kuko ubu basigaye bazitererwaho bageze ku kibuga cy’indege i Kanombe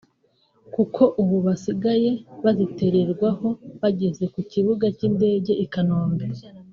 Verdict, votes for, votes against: rejected, 0, 2